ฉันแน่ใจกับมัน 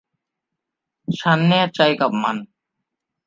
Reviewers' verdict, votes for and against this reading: rejected, 0, 2